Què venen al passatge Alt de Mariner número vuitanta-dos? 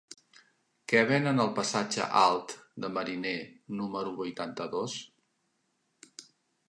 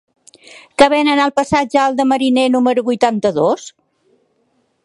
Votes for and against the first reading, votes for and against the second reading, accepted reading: 3, 0, 0, 2, first